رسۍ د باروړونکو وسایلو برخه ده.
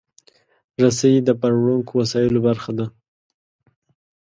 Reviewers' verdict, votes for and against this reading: accepted, 2, 0